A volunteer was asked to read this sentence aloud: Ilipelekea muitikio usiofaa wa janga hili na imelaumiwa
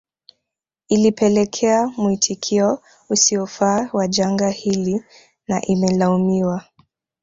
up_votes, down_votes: 0, 2